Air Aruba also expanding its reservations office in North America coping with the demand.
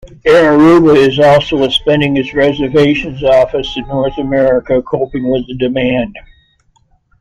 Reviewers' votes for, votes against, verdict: 1, 2, rejected